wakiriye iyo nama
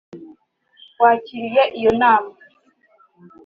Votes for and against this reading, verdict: 3, 0, accepted